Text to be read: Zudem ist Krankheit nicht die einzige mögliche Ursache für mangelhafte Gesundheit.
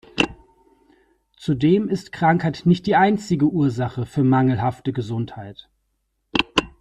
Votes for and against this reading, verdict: 0, 3, rejected